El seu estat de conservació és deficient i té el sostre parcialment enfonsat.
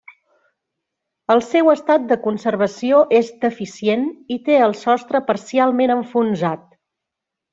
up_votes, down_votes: 3, 0